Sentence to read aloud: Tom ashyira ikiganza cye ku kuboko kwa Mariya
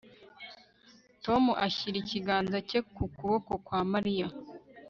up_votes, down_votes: 1, 2